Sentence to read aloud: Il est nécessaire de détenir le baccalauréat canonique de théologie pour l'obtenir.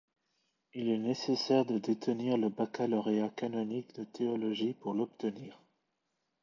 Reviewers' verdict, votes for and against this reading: accepted, 2, 1